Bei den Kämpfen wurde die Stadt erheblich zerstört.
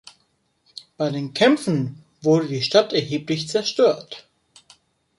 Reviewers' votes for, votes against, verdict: 2, 0, accepted